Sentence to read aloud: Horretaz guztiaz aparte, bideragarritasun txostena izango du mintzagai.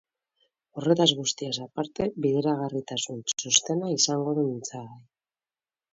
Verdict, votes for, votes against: accepted, 2, 0